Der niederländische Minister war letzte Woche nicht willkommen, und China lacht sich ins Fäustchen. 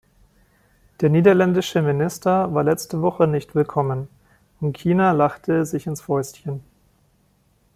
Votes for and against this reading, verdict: 1, 2, rejected